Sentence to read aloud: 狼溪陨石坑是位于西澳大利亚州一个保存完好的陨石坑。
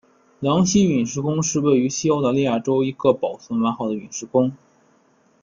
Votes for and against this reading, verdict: 2, 1, accepted